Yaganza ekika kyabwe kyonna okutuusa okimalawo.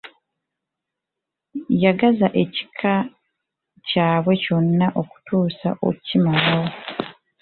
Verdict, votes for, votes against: rejected, 1, 2